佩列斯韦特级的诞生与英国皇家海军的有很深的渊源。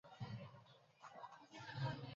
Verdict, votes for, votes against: rejected, 0, 2